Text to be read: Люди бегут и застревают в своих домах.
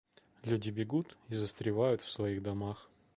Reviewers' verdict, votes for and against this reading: accepted, 2, 1